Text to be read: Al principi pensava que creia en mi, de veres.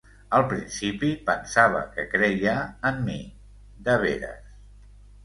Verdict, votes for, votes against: accepted, 2, 0